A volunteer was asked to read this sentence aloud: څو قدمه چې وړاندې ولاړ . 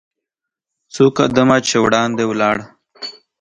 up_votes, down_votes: 2, 0